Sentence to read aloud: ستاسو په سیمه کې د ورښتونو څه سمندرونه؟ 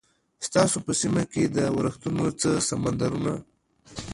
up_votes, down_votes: 0, 2